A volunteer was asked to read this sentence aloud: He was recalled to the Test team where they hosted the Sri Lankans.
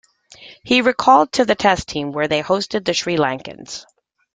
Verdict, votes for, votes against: accepted, 3, 0